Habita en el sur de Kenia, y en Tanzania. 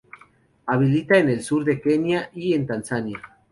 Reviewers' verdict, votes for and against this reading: rejected, 0, 2